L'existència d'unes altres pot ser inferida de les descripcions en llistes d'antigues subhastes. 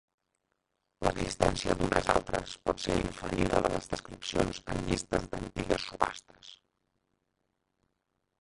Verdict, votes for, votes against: rejected, 0, 3